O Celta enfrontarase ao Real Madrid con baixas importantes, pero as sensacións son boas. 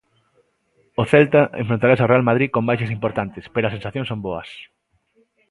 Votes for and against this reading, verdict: 2, 0, accepted